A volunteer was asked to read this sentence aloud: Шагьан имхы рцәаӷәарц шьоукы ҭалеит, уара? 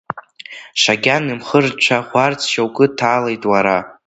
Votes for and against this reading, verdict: 2, 1, accepted